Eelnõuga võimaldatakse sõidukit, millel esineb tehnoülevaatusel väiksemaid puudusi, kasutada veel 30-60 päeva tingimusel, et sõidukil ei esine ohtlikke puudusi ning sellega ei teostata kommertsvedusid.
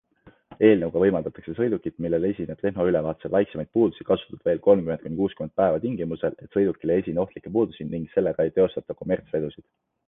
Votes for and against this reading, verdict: 0, 2, rejected